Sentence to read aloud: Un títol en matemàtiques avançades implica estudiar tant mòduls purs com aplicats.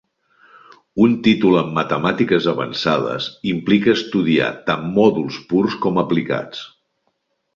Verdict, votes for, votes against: accepted, 2, 0